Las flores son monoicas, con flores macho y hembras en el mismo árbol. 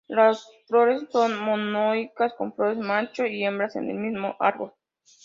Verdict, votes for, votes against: accepted, 2, 0